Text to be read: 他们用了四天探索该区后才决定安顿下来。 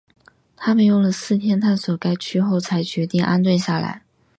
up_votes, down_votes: 4, 0